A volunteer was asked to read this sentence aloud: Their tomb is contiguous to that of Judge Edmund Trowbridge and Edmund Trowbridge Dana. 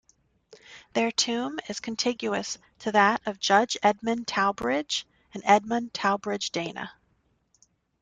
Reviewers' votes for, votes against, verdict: 1, 2, rejected